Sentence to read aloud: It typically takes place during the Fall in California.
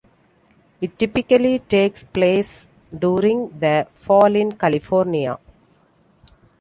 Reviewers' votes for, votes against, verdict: 2, 0, accepted